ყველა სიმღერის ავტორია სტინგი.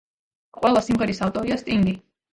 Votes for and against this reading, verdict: 1, 2, rejected